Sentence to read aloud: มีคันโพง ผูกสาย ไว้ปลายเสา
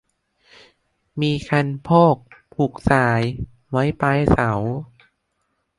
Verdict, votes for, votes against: rejected, 1, 2